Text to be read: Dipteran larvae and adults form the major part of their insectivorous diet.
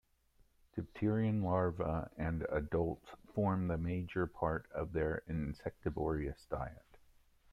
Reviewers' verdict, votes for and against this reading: rejected, 0, 2